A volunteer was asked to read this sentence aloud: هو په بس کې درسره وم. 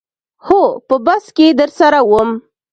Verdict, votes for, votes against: accepted, 2, 0